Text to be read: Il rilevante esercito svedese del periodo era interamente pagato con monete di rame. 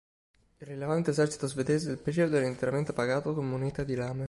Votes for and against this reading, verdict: 1, 2, rejected